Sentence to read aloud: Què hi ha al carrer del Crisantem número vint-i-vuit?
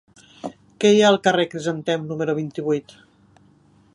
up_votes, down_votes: 1, 2